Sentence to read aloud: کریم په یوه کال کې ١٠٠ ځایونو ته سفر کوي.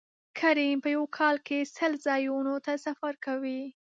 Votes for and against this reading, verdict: 0, 2, rejected